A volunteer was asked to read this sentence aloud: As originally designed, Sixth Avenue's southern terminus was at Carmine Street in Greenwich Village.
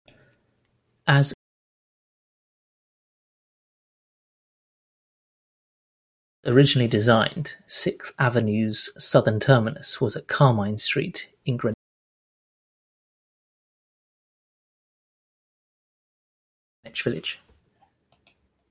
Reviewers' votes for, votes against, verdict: 1, 2, rejected